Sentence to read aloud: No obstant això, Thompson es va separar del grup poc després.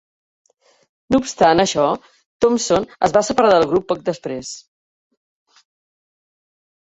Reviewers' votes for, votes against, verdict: 0, 2, rejected